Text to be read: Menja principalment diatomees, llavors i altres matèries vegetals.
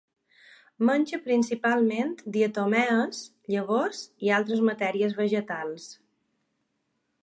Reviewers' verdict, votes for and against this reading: accepted, 2, 0